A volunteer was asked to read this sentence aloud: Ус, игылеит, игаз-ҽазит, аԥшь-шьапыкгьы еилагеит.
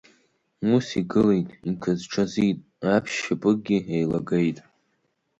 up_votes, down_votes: 1, 2